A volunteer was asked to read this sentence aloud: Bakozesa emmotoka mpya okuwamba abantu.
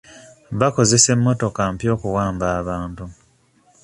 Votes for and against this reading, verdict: 2, 0, accepted